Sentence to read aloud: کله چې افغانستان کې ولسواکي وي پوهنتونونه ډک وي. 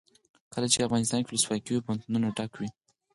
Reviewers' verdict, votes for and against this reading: rejected, 0, 4